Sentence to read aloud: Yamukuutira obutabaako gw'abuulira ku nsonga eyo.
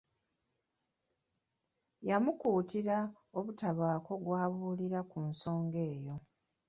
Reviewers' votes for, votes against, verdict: 2, 0, accepted